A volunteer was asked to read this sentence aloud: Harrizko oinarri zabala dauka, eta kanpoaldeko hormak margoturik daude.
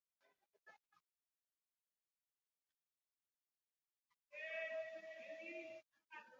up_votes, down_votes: 0, 2